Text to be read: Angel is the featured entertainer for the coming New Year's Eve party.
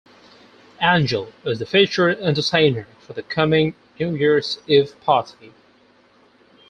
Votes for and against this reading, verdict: 0, 4, rejected